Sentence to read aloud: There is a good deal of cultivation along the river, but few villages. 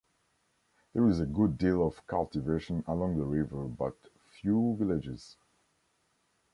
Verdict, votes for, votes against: accepted, 2, 0